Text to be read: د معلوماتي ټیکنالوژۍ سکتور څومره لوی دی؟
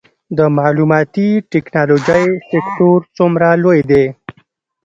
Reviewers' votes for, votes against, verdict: 1, 2, rejected